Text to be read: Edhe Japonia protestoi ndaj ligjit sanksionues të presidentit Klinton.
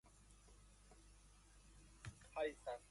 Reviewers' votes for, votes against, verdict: 0, 2, rejected